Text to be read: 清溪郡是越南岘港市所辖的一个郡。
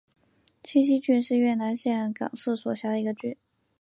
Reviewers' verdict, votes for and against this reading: accepted, 2, 0